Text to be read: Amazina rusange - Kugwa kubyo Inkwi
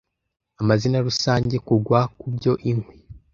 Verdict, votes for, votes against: accepted, 2, 0